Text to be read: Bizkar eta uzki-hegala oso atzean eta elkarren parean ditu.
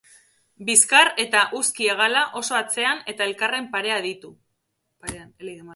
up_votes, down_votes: 2, 2